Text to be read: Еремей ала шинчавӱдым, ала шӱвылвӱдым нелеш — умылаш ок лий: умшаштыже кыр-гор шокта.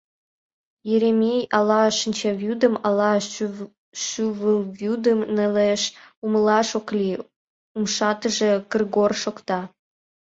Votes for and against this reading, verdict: 0, 2, rejected